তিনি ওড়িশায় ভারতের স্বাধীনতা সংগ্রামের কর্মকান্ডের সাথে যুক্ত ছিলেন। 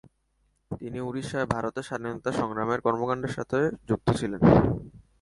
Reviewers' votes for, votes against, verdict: 1, 2, rejected